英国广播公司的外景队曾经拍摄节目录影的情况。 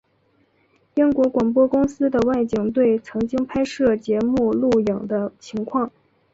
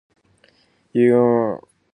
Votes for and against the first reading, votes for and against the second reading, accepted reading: 2, 0, 0, 2, first